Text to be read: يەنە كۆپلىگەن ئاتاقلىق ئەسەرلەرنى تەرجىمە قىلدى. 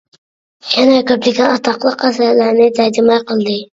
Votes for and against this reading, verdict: 1, 2, rejected